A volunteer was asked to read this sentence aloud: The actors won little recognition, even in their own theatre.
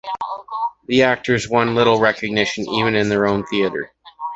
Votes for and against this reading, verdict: 2, 0, accepted